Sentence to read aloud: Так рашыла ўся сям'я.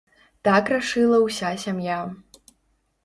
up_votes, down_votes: 2, 0